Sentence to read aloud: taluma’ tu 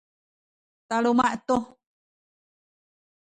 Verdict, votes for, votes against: rejected, 1, 2